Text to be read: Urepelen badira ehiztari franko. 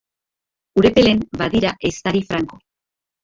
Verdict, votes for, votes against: rejected, 1, 2